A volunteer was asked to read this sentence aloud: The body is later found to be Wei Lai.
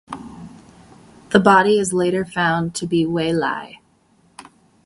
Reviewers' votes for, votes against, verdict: 2, 0, accepted